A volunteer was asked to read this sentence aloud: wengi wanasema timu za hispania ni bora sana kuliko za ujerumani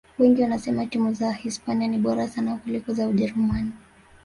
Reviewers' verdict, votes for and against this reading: accepted, 5, 0